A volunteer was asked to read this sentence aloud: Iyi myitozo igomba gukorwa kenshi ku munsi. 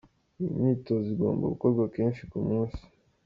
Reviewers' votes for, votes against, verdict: 2, 0, accepted